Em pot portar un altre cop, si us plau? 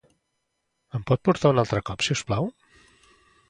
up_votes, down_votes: 2, 0